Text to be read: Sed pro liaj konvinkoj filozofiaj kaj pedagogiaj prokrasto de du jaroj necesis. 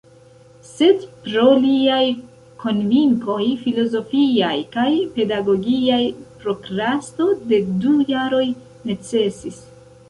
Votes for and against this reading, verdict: 1, 2, rejected